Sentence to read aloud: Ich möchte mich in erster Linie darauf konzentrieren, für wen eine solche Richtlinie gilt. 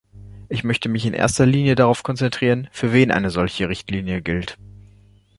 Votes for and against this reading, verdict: 2, 0, accepted